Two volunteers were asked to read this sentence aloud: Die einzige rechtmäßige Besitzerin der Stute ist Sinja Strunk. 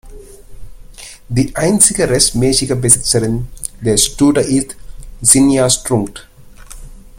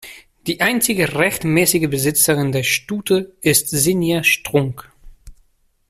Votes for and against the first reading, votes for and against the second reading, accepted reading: 1, 2, 2, 0, second